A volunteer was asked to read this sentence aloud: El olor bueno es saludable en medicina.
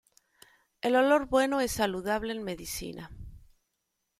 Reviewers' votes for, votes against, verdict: 2, 0, accepted